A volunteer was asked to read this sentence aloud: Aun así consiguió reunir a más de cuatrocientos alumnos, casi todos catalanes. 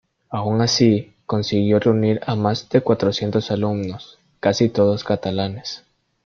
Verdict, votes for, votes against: accepted, 2, 0